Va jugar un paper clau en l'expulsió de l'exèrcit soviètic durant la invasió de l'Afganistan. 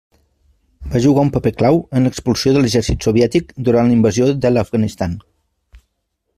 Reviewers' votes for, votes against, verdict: 2, 0, accepted